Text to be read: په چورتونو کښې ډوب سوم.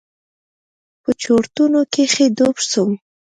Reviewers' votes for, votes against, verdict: 2, 0, accepted